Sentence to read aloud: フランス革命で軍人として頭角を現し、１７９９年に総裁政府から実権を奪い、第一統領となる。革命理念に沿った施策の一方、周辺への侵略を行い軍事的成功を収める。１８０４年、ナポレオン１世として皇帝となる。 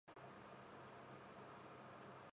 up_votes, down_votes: 0, 2